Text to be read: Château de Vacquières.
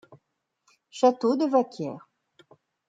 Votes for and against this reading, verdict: 2, 0, accepted